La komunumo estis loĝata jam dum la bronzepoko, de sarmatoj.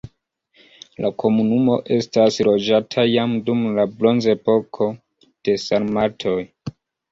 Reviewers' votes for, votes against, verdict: 2, 1, accepted